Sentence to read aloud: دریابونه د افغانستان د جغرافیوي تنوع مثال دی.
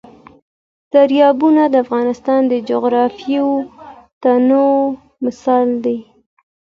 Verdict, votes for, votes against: accepted, 2, 0